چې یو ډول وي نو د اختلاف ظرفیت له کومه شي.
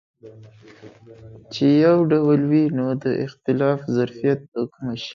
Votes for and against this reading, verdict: 3, 0, accepted